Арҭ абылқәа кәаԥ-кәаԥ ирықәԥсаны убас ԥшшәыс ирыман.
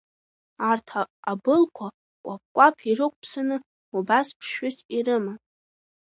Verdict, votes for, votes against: rejected, 0, 2